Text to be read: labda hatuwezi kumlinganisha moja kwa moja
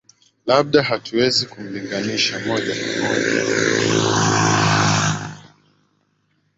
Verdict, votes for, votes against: rejected, 0, 2